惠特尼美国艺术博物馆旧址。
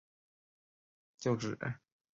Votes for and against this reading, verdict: 1, 7, rejected